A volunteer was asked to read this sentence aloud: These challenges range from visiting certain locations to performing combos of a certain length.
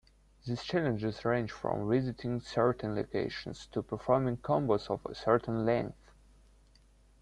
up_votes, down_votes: 2, 0